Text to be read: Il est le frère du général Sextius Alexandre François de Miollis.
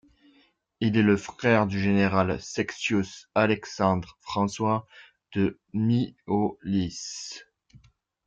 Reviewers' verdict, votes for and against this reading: rejected, 1, 3